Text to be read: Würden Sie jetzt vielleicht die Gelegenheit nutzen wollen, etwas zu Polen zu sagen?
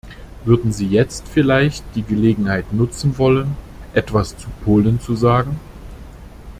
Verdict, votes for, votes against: accepted, 2, 0